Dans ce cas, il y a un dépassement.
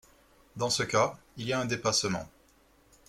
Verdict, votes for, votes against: accepted, 2, 0